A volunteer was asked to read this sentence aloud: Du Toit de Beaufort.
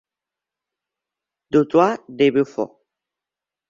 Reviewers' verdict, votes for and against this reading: accepted, 2, 0